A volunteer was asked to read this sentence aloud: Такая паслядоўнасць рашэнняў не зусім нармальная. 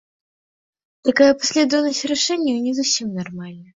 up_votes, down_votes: 2, 1